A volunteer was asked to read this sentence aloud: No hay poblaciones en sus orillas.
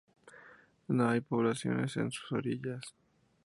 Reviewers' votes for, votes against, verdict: 6, 2, accepted